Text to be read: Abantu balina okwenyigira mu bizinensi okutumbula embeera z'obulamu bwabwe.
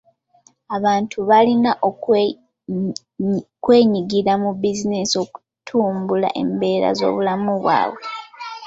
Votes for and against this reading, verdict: 2, 0, accepted